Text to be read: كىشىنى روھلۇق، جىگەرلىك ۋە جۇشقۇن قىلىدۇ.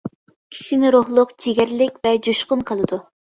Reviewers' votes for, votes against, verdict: 2, 0, accepted